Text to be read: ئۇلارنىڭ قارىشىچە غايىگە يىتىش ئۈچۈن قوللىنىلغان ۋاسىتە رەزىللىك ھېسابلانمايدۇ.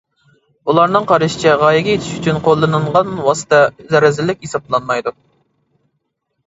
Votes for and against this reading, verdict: 0, 2, rejected